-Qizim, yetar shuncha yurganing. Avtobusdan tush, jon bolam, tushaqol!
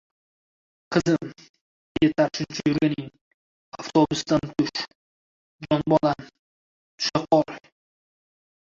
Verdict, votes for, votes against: rejected, 0, 2